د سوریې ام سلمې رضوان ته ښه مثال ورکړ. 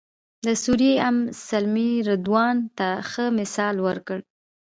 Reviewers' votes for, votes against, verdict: 0, 2, rejected